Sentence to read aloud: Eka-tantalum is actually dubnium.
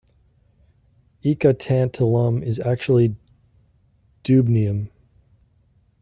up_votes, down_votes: 2, 0